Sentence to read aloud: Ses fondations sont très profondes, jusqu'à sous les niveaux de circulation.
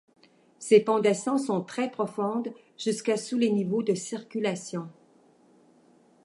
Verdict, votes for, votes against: accepted, 2, 0